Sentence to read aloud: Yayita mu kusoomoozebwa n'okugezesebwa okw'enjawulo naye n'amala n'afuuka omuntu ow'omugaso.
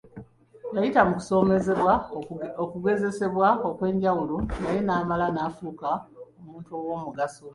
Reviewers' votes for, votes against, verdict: 0, 3, rejected